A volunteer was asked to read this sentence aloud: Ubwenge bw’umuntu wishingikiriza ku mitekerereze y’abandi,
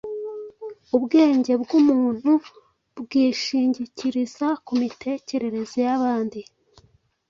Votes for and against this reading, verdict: 1, 2, rejected